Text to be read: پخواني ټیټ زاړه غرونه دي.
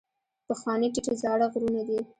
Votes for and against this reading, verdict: 1, 2, rejected